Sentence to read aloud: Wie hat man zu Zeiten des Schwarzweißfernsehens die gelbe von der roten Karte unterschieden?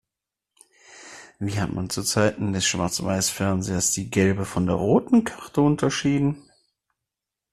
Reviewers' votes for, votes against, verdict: 1, 2, rejected